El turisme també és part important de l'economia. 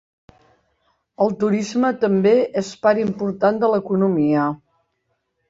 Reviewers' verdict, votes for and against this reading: accepted, 2, 0